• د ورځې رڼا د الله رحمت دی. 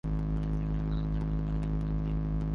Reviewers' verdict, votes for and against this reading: rejected, 0, 2